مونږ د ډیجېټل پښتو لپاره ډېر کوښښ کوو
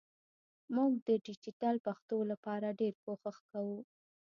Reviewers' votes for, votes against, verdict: 1, 2, rejected